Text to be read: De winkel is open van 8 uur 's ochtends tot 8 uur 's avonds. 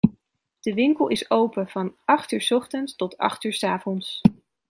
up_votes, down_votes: 0, 2